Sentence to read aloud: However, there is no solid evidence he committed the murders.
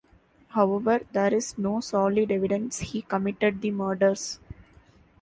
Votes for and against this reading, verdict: 2, 0, accepted